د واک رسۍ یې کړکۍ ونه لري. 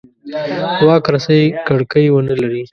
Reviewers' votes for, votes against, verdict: 1, 2, rejected